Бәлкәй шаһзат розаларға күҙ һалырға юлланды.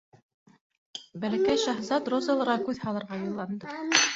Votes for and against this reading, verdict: 2, 0, accepted